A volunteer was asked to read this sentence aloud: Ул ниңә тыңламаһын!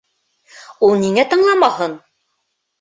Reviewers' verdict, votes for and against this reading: accepted, 3, 0